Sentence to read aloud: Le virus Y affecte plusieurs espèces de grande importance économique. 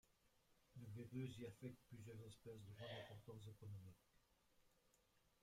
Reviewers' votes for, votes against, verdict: 0, 2, rejected